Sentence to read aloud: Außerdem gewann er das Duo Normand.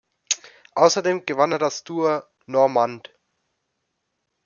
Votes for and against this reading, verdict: 1, 2, rejected